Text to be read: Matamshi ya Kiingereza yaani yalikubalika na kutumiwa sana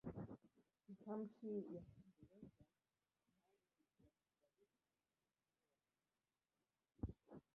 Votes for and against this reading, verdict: 0, 4, rejected